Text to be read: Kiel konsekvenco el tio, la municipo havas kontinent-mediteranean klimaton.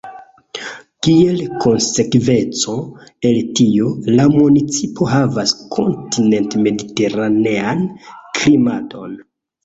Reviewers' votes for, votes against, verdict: 0, 2, rejected